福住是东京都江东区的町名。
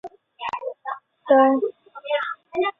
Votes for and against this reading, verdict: 0, 2, rejected